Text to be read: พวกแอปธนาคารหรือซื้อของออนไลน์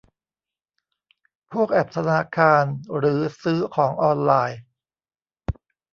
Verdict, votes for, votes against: rejected, 1, 2